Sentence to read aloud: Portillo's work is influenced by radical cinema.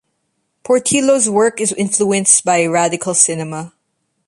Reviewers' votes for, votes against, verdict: 2, 0, accepted